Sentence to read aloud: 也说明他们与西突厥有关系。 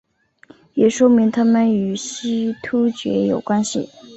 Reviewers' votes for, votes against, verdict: 5, 0, accepted